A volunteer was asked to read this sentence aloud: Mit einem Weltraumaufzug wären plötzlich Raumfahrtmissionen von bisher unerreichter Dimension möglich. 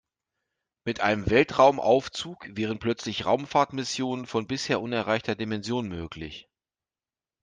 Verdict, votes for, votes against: accepted, 2, 0